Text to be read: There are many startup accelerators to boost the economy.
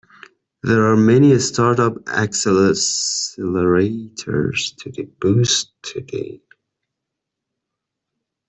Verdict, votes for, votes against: rejected, 0, 2